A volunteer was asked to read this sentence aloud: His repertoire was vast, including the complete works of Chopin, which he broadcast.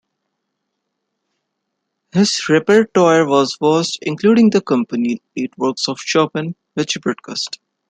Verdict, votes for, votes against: rejected, 1, 2